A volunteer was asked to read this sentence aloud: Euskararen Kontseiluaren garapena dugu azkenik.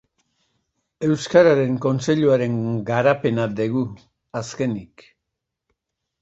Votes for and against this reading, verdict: 0, 2, rejected